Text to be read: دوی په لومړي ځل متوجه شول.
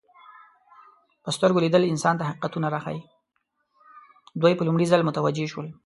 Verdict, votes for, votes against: rejected, 1, 2